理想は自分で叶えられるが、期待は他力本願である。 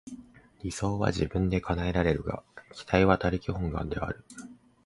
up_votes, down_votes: 2, 0